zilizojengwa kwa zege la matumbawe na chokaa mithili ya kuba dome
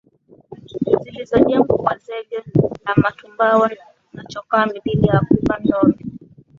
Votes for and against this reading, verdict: 2, 0, accepted